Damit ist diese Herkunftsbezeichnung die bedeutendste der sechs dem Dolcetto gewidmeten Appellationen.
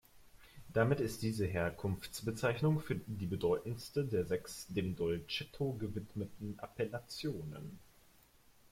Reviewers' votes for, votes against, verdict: 0, 2, rejected